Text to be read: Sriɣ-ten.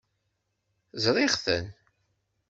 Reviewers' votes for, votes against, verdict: 1, 2, rejected